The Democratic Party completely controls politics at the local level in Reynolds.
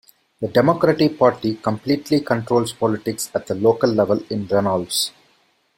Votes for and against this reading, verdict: 2, 0, accepted